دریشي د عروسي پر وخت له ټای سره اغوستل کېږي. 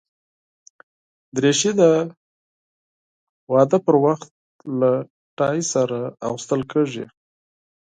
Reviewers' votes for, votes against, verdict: 0, 4, rejected